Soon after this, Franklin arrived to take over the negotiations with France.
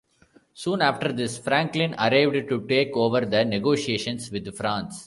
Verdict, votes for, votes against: accepted, 2, 0